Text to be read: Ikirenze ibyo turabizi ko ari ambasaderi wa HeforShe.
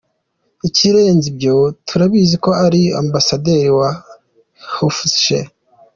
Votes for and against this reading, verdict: 2, 0, accepted